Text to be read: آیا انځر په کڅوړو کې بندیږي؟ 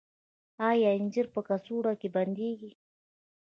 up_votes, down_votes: 2, 0